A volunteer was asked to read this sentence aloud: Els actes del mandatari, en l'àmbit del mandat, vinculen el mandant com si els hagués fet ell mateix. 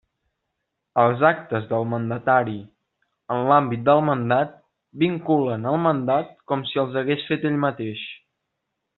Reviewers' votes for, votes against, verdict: 0, 2, rejected